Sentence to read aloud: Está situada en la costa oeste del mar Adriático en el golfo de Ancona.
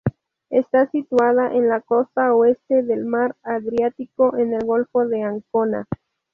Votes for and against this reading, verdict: 2, 0, accepted